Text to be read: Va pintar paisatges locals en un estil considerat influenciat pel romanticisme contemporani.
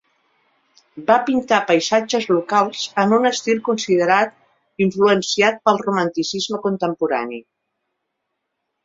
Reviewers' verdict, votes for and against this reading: accepted, 2, 0